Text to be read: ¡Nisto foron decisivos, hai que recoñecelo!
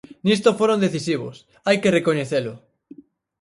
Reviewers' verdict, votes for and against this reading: accepted, 6, 0